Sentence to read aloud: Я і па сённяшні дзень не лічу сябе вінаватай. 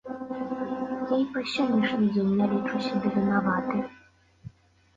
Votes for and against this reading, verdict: 0, 2, rejected